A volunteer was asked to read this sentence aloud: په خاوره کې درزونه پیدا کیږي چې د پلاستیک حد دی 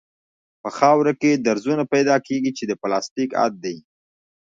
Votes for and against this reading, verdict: 2, 0, accepted